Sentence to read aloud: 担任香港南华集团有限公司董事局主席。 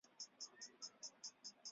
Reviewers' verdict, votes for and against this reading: rejected, 1, 2